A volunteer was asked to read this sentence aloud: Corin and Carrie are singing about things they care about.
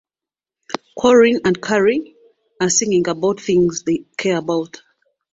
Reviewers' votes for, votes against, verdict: 2, 0, accepted